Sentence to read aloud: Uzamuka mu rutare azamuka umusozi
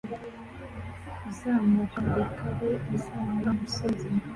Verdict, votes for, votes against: rejected, 1, 2